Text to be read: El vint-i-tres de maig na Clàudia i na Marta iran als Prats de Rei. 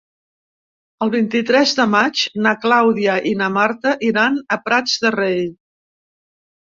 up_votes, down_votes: 0, 2